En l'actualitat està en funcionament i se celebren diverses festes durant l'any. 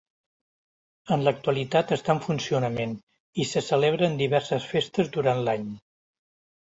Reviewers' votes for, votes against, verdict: 3, 0, accepted